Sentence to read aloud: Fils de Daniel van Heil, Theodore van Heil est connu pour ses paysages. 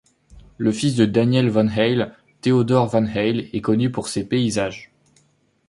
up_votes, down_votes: 0, 2